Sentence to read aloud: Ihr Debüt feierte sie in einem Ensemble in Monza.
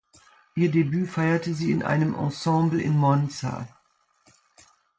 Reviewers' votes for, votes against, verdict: 2, 0, accepted